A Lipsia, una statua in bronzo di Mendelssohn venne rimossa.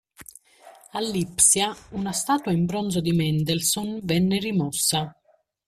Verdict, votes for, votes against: accepted, 2, 0